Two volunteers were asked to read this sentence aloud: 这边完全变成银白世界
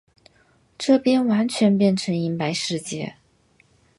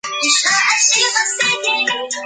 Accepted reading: first